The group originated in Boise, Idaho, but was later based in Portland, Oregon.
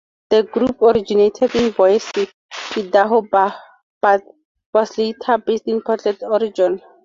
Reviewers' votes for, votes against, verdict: 0, 2, rejected